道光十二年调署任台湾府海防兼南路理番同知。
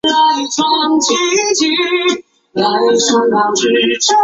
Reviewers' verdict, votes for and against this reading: rejected, 0, 6